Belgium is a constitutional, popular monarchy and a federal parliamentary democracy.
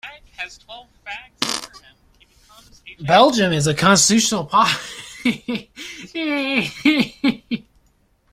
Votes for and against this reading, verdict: 0, 2, rejected